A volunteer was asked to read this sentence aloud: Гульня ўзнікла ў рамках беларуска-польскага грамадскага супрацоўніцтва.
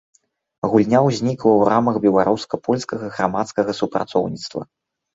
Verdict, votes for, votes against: rejected, 1, 2